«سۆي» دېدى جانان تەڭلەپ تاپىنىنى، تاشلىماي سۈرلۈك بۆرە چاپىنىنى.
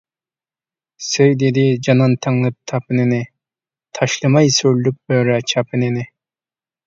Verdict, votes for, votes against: accepted, 2, 1